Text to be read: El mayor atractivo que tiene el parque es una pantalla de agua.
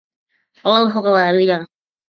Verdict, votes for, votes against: rejected, 0, 2